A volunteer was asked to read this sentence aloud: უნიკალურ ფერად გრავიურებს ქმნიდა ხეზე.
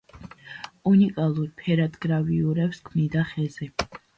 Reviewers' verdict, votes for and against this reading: accepted, 2, 0